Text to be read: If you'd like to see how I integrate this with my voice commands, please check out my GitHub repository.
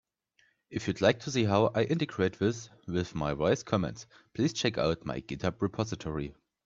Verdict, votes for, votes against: accepted, 2, 0